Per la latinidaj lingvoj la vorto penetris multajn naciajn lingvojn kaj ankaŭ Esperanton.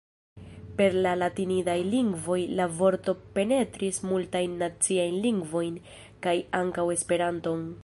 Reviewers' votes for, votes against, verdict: 1, 2, rejected